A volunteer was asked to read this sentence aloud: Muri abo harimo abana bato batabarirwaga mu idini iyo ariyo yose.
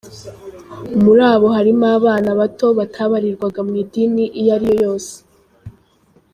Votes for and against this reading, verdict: 2, 0, accepted